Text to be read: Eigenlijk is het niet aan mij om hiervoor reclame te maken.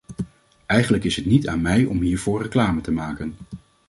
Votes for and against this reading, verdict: 2, 0, accepted